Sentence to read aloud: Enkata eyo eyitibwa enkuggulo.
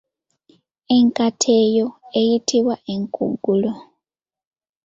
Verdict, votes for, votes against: rejected, 1, 2